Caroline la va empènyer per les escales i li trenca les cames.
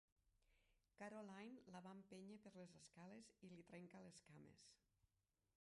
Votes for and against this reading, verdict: 0, 2, rejected